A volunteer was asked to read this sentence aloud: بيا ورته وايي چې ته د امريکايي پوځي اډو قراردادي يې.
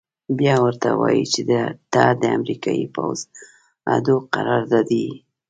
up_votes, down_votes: 2, 0